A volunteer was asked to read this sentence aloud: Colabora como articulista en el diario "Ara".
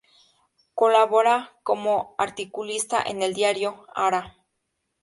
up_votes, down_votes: 2, 0